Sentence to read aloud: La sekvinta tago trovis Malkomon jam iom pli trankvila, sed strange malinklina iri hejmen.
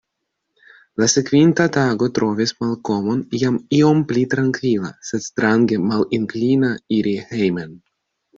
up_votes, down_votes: 2, 0